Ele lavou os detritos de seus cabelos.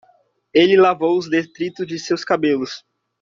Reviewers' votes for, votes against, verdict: 2, 1, accepted